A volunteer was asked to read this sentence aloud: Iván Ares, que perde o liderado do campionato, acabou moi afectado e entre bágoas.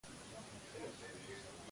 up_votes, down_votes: 0, 2